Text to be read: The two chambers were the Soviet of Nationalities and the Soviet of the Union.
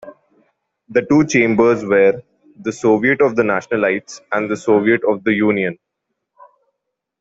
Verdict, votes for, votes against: rejected, 0, 2